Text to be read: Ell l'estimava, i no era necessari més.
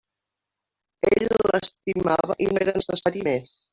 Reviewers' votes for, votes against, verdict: 0, 2, rejected